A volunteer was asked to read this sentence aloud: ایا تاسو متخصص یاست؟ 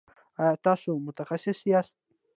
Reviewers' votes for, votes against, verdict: 2, 0, accepted